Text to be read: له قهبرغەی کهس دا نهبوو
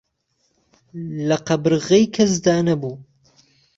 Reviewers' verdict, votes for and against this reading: accepted, 2, 0